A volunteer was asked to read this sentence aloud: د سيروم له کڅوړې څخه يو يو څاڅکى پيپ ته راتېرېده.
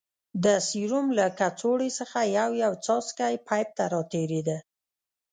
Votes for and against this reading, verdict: 0, 2, rejected